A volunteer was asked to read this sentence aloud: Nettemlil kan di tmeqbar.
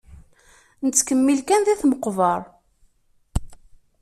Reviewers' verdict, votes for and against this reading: rejected, 1, 2